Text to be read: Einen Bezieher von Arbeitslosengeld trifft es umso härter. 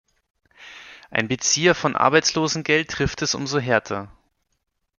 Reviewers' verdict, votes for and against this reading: accepted, 2, 0